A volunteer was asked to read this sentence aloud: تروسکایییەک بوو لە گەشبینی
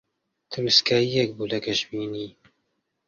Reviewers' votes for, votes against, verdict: 2, 0, accepted